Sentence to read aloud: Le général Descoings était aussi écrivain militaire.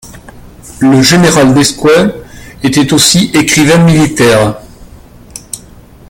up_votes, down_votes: 1, 3